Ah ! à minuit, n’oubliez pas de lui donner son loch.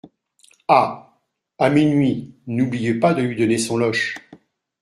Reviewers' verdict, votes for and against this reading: rejected, 0, 2